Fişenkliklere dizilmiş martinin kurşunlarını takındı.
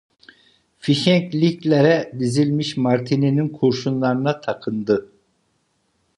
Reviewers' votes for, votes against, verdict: 0, 2, rejected